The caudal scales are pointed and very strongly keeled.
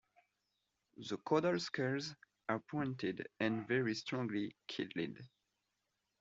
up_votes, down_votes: 0, 2